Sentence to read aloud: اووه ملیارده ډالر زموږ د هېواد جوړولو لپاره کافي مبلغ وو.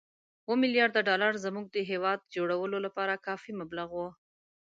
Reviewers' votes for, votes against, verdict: 2, 0, accepted